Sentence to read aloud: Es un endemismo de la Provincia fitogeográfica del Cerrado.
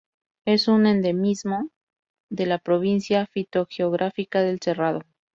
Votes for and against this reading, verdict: 2, 0, accepted